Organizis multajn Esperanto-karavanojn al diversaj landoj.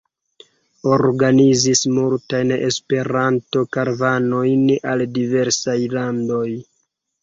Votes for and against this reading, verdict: 0, 2, rejected